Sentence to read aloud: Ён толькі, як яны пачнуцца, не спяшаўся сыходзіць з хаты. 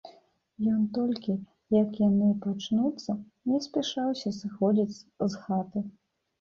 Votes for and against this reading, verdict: 1, 2, rejected